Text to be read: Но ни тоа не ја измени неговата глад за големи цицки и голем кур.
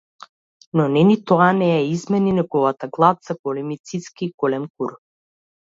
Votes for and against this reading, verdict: 0, 2, rejected